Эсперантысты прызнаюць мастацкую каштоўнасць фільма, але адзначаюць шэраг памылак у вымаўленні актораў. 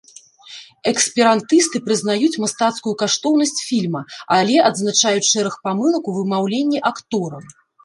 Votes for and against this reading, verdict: 1, 2, rejected